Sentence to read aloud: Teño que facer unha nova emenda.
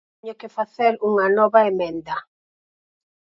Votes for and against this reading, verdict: 0, 4, rejected